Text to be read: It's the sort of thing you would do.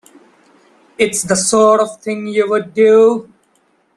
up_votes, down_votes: 2, 0